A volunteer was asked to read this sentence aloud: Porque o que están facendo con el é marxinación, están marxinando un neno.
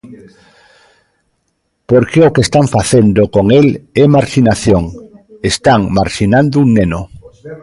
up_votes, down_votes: 1, 2